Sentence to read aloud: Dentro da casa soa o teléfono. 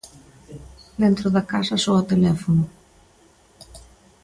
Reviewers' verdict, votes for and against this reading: accepted, 2, 0